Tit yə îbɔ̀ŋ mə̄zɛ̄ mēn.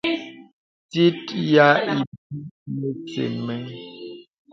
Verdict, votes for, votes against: rejected, 1, 2